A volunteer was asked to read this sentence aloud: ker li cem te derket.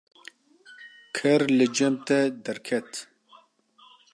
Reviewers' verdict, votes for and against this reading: accepted, 2, 0